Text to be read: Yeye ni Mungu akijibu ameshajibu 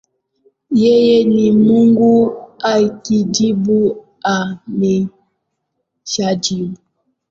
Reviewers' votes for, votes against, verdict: 0, 2, rejected